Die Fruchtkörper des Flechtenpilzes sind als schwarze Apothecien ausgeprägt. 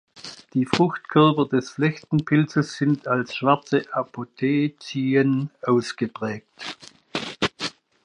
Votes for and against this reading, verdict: 1, 2, rejected